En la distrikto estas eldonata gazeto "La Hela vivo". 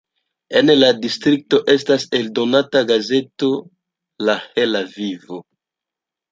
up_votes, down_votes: 2, 0